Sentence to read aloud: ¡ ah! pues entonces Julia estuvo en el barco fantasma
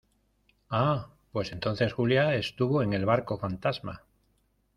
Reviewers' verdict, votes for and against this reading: accepted, 2, 0